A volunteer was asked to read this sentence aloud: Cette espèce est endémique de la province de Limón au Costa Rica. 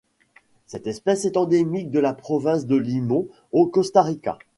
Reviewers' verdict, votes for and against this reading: rejected, 0, 2